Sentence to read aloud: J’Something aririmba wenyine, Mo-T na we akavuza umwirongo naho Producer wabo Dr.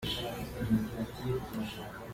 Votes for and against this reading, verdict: 0, 2, rejected